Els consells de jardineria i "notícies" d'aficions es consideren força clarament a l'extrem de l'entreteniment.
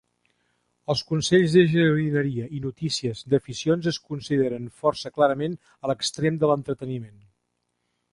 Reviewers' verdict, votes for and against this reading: accepted, 2, 1